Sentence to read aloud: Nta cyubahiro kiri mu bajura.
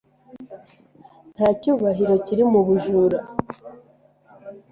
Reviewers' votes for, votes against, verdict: 1, 2, rejected